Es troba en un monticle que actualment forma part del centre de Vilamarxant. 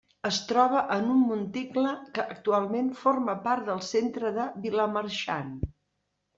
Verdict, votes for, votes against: accepted, 2, 0